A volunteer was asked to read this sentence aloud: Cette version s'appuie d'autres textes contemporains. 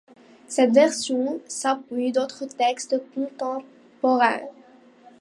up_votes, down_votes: 2, 1